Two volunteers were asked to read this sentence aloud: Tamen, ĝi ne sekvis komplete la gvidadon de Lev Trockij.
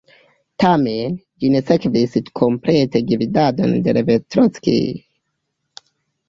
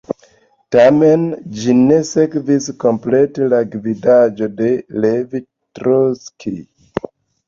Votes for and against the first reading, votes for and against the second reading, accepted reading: 0, 2, 2, 0, second